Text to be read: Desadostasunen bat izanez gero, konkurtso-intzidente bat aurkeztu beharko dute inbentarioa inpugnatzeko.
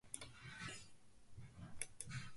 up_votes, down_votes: 0, 2